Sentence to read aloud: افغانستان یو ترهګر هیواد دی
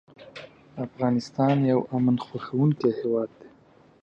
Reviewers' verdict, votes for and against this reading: rejected, 0, 2